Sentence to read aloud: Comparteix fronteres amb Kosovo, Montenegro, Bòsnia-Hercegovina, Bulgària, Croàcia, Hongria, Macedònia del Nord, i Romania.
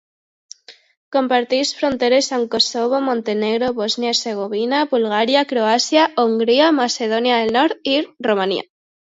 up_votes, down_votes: 2, 0